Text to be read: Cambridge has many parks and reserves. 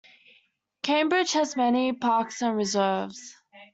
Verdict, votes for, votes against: accepted, 2, 0